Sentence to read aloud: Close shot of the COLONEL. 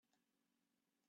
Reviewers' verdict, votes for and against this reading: rejected, 0, 3